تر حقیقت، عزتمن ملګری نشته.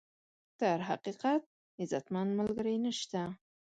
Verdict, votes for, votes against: accepted, 2, 0